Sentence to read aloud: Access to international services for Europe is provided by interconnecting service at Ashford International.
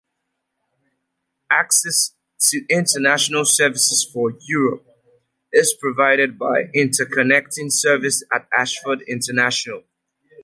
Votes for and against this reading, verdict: 2, 0, accepted